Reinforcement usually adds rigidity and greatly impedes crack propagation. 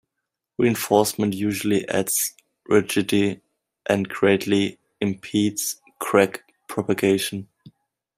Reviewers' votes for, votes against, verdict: 1, 2, rejected